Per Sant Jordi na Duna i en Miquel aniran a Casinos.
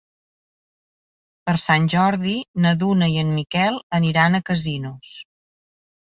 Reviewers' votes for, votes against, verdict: 2, 0, accepted